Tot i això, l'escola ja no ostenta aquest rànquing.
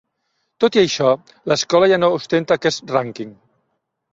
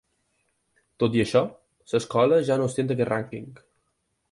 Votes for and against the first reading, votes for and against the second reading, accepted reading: 3, 0, 2, 4, first